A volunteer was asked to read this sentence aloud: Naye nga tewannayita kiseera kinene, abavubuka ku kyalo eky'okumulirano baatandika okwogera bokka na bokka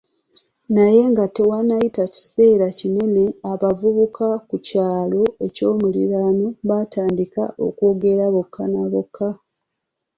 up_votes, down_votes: 2, 0